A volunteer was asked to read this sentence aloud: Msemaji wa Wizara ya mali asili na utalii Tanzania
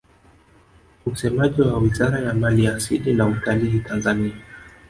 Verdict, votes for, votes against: rejected, 1, 2